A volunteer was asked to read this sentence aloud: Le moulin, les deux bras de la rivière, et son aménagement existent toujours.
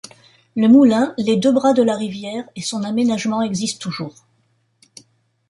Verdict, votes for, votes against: rejected, 0, 2